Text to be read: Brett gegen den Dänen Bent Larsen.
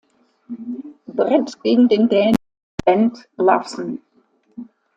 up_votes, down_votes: 0, 2